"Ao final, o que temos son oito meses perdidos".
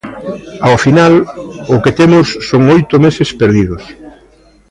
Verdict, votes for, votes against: rejected, 1, 2